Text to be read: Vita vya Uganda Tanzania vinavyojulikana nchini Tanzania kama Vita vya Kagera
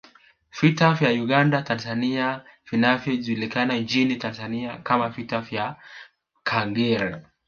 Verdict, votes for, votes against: rejected, 0, 2